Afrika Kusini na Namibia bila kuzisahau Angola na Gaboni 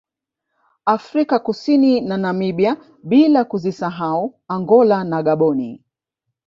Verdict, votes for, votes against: accepted, 3, 0